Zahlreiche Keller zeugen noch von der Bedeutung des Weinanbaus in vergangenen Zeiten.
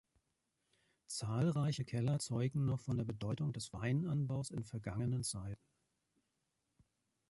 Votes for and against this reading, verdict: 2, 0, accepted